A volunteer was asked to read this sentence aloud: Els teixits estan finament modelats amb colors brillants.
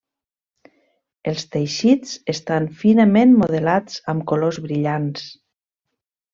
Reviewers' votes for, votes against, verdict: 3, 0, accepted